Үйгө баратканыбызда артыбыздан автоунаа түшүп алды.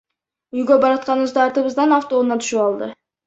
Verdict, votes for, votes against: rejected, 1, 2